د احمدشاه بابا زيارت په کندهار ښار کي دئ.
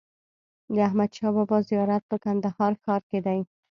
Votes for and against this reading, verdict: 3, 0, accepted